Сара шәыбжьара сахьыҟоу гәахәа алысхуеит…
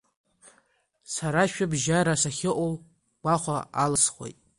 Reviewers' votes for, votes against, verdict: 2, 0, accepted